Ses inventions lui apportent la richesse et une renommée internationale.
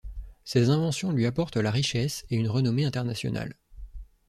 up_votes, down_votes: 2, 0